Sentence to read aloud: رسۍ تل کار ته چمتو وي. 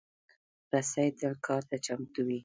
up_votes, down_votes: 1, 2